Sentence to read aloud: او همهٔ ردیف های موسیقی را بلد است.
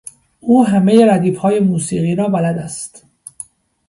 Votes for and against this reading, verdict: 2, 0, accepted